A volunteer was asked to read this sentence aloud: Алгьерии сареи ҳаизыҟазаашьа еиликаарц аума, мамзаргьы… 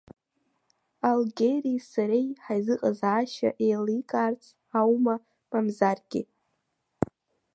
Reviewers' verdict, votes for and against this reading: accepted, 2, 0